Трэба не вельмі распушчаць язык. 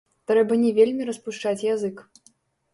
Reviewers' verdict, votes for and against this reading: rejected, 0, 2